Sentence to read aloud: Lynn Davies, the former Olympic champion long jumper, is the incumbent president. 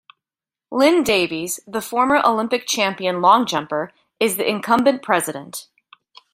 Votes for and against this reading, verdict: 2, 0, accepted